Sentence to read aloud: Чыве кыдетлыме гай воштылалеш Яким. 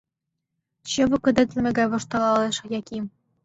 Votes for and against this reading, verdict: 2, 0, accepted